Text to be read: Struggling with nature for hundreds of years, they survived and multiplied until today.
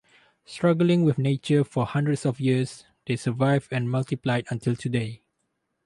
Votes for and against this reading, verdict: 2, 2, rejected